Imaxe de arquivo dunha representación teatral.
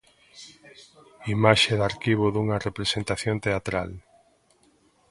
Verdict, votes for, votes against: accepted, 2, 0